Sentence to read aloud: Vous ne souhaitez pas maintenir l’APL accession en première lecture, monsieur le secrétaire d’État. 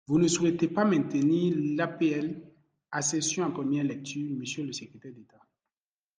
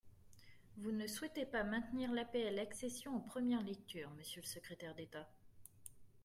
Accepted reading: second